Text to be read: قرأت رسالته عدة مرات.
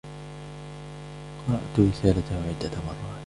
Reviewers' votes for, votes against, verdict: 0, 2, rejected